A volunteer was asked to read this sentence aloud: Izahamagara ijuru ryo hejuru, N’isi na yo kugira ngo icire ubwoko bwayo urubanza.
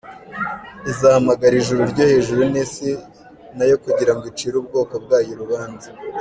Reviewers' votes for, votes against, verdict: 2, 0, accepted